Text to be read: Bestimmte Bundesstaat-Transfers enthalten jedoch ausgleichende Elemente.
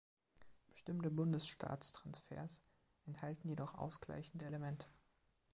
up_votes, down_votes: 3, 1